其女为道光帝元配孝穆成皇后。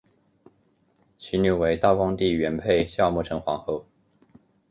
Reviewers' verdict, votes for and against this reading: accepted, 2, 0